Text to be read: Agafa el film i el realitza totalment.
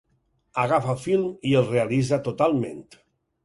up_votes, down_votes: 0, 4